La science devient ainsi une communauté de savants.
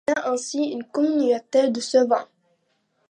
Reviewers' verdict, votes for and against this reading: rejected, 1, 2